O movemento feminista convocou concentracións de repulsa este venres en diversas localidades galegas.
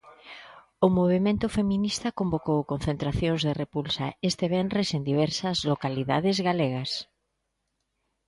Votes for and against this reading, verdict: 3, 0, accepted